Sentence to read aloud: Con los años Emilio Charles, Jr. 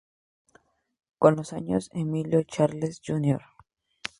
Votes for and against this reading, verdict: 2, 0, accepted